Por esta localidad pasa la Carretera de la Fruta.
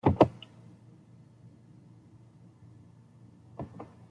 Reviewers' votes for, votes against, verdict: 0, 2, rejected